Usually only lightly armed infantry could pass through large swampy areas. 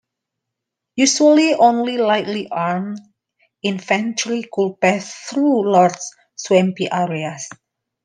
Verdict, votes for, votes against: rejected, 1, 2